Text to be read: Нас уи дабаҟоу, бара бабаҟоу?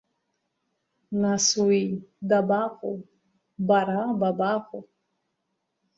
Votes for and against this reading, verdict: 2, 0, accepted